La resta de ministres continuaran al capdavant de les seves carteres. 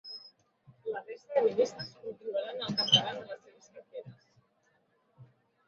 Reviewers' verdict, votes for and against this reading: rejected, 0, 3